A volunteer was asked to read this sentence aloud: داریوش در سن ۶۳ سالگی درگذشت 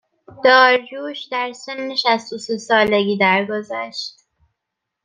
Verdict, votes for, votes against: rejected, 0, 2